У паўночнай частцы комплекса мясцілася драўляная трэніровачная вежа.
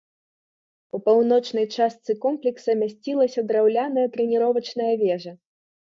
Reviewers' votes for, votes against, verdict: 3, 0, accepted